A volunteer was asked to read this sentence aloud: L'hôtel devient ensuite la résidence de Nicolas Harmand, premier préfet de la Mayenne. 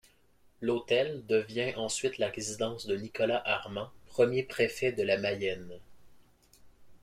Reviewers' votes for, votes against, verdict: 1, 2, rejected